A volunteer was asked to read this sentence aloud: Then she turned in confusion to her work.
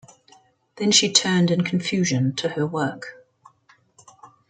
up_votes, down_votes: 2, 0